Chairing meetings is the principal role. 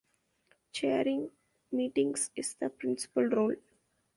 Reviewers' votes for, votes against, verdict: 2, 0, accepted